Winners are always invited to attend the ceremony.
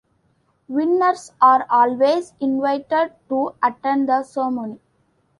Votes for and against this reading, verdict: 2, 0, accepted